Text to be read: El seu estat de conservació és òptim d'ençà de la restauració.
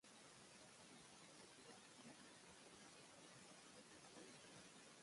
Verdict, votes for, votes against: rejected, 0, 2